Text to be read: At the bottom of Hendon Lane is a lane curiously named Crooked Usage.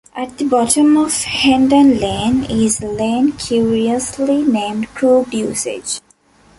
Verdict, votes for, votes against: accepted, 2, 1